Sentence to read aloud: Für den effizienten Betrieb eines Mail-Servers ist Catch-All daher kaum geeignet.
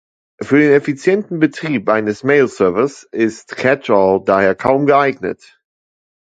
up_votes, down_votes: 2, 0